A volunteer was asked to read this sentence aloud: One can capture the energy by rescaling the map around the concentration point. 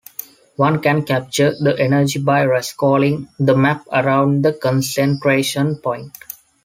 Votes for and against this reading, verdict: 2, 1, accepted